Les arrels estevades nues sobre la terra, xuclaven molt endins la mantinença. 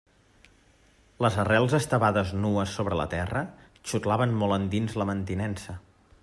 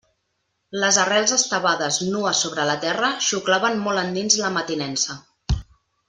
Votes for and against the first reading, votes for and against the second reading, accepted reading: 2, 0, 2, 3, first